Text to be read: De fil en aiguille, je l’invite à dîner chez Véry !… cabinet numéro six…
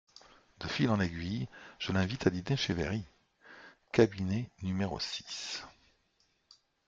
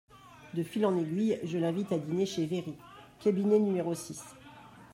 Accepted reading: first